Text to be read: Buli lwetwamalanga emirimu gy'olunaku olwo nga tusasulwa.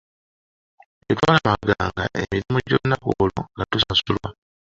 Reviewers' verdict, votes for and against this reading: rejected, 0, 2